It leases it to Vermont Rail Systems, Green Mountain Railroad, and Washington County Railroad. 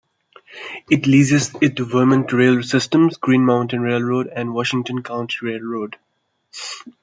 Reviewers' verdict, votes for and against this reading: accepted, 2, 1